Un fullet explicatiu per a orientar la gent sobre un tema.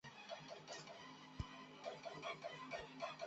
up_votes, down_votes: 0, 2